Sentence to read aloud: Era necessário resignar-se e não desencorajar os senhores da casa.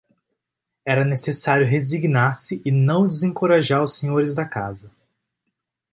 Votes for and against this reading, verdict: 2, 0, accepted